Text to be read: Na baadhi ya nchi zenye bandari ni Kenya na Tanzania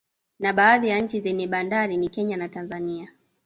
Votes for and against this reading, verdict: 0, 2, rejected